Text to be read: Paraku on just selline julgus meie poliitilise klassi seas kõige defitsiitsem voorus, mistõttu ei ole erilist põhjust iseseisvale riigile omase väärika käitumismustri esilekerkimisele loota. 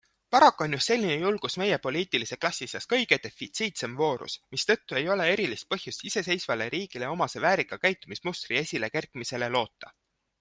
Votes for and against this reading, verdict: 2, 0, accepted